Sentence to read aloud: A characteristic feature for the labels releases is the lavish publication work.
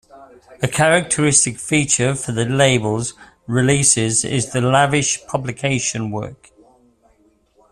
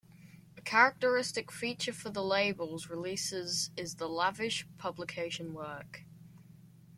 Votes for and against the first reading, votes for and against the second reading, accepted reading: 2, 0, 0, 2, first